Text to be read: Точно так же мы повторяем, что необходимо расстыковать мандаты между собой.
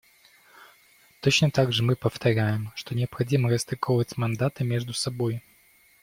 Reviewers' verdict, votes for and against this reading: accepted, 2, 0